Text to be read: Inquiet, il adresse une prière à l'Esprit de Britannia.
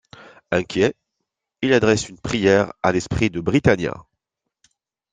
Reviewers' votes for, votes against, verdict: 2, 0, accepted